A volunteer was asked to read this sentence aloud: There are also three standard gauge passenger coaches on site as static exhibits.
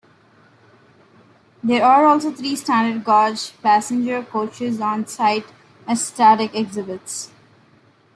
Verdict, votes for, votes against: rejected, 1, 2